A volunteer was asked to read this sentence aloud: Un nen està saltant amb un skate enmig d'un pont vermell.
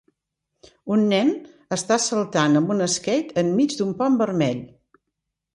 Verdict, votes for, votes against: accepted, 2, 0